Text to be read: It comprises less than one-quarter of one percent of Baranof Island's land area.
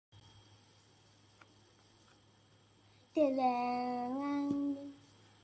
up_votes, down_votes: 0, 2